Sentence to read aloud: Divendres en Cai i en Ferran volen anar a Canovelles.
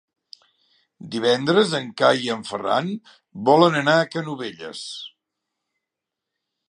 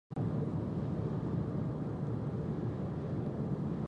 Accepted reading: first